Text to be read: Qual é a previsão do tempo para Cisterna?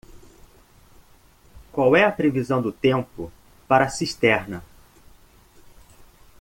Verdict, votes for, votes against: accepted, 2, 0